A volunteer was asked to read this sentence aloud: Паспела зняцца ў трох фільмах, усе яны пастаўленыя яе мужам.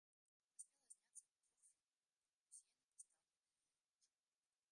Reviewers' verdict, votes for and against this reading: rejected, 0, 2